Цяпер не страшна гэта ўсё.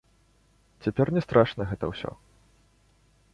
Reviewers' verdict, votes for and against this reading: accepted, 2, 0